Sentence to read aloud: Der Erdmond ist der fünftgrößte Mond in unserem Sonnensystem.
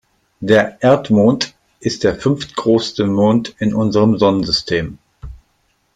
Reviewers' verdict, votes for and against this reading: rejected, 0, 2